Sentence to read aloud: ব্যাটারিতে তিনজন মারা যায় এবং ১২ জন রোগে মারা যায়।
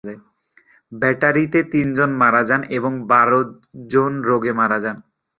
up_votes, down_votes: 0, 2